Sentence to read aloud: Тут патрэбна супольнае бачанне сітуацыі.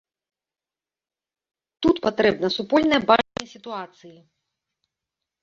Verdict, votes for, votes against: rejected, 0, 3